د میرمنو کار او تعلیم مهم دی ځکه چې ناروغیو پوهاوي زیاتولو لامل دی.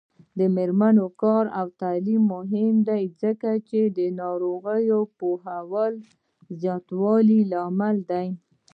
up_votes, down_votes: 2, 0